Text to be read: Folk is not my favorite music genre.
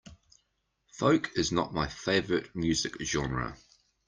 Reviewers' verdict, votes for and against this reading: accepted, 2, 0